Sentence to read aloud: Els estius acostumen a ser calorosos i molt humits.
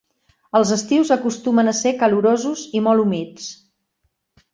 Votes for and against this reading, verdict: 6, 0, accepted